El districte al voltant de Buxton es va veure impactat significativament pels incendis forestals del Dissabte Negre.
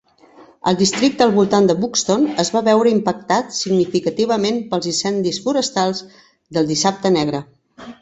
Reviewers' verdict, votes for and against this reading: accepted, 5, 0